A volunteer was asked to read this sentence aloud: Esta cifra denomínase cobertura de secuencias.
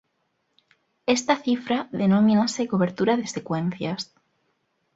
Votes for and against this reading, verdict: 2, 0, accepted